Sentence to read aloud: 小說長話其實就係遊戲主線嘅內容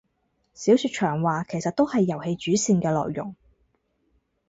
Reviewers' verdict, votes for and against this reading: rejected, 0, 4